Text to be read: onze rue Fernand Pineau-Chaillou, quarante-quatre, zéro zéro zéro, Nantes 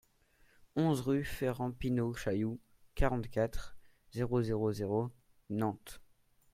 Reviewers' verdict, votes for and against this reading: rejected, 1, 2